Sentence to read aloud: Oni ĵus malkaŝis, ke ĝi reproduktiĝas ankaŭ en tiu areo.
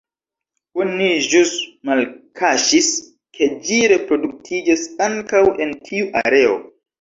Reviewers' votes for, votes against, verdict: 2, 1, accepted